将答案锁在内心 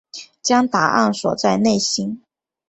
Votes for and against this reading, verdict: 2, 0, accepted